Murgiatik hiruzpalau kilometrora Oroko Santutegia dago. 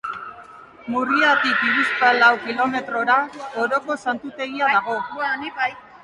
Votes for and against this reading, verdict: 0, 2, rejected